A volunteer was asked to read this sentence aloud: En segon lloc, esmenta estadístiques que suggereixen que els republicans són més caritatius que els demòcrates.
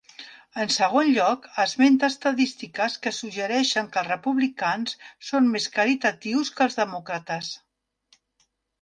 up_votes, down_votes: 3, 0